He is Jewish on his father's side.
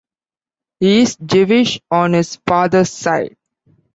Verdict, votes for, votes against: accepted, 2, 0